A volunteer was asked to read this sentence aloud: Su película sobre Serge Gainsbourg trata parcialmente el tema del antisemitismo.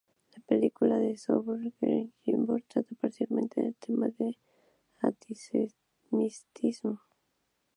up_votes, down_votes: 0, 2